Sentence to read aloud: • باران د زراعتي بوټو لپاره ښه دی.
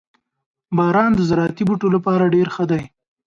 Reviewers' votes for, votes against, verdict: 0, 2, rejected